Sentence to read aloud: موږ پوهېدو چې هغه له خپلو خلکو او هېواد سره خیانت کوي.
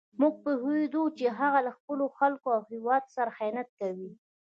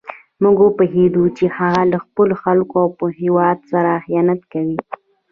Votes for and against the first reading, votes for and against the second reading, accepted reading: 1, 2, 2, 1, second